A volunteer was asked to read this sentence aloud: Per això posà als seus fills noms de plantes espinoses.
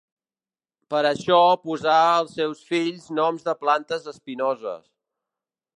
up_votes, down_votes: 2, 0